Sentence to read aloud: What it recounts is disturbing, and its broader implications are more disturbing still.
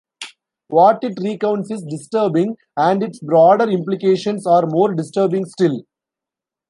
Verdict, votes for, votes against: accepted, 2, 0